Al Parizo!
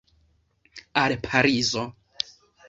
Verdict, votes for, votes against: accepted, 2, 0